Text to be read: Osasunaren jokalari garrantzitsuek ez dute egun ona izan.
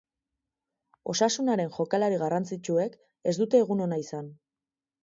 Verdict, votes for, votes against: accepted, 4, 0